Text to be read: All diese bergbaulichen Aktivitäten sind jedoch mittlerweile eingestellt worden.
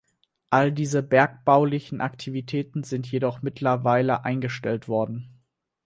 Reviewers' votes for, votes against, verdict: 4, 0, accepted